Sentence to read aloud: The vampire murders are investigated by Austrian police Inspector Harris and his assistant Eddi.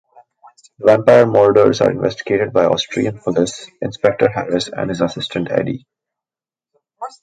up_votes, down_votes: 2, 1